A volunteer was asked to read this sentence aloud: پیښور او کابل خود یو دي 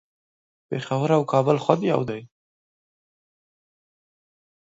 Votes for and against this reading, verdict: 2, 0, accepted